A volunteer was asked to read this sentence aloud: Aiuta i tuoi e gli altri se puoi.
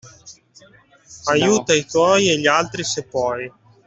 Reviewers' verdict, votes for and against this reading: accepted, 2, 0